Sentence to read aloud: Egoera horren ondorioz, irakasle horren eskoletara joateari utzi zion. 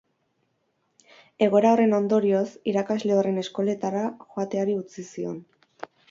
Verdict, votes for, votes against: accepted, 4, 0